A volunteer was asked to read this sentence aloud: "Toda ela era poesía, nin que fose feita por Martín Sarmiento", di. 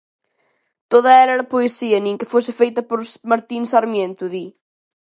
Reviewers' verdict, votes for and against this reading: accepted, 2, 0